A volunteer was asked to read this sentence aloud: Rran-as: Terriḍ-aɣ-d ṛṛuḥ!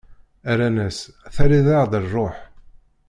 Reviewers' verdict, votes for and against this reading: accepted, 2, 0